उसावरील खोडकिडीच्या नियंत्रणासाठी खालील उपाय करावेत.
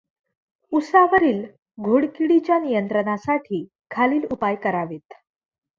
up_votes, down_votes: 0, 2